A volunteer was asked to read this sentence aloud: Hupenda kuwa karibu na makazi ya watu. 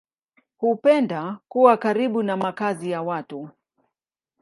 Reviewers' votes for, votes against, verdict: 2, 0, accepted